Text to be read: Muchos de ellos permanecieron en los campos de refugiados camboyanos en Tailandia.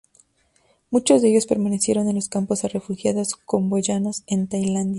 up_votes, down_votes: 4, 6